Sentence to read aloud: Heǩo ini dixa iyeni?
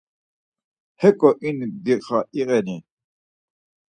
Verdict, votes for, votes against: rejected, 2, 4